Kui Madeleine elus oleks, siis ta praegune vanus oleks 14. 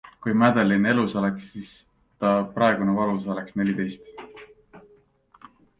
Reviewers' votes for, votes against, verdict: 0, 2, rejected